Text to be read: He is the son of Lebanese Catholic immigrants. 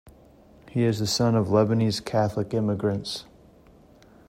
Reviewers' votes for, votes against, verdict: 2, 0, accepted